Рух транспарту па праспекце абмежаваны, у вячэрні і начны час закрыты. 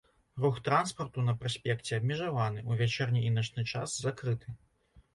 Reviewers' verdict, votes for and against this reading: rejected, 0, 2